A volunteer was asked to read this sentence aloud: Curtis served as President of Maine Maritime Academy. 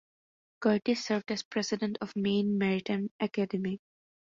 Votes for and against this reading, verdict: 2, 0, accepted